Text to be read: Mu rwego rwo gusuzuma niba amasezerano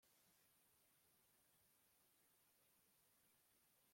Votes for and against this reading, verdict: 0, 2, rejected